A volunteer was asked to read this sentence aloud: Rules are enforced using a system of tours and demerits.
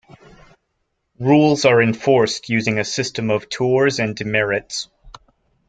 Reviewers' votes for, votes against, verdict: 0, 2, rejected